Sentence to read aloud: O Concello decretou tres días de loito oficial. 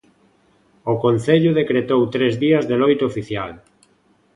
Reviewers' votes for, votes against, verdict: 2, 0, accepted